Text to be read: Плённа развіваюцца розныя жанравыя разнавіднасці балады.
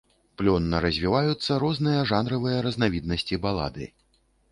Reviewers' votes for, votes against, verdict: 2, 0, accepted